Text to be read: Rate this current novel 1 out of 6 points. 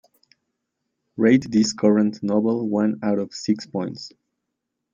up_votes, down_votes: 0, 2